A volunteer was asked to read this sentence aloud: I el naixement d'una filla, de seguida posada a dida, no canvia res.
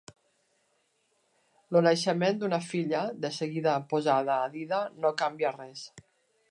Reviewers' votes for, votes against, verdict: 1, 2, rejected